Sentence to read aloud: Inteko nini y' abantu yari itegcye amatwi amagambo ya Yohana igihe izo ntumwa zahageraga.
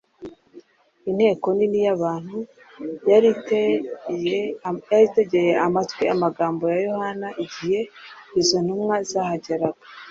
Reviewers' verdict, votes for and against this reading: rejected, 0, 2